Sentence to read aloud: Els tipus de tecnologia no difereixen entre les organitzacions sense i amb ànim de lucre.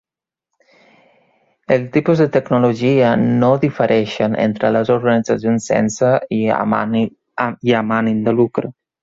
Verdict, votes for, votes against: rejected, 0, 2